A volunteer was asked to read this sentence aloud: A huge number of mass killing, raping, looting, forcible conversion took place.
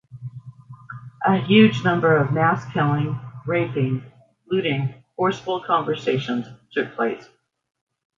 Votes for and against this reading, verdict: 0, 2, rejected